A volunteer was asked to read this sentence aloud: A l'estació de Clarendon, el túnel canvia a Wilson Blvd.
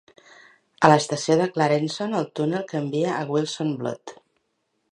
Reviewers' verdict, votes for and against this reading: rejected, 0, 3